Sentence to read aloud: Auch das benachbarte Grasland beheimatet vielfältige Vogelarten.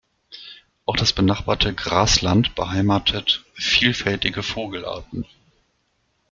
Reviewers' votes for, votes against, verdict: 2, 0, accepted